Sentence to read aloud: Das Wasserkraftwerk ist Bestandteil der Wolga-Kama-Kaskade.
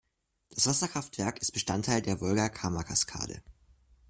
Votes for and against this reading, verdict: 2, 0, accepted